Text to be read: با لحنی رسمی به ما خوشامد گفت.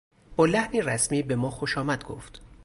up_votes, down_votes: 2, 0